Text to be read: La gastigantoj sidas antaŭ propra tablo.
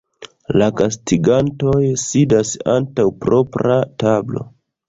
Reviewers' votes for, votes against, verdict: 2, 0, accepted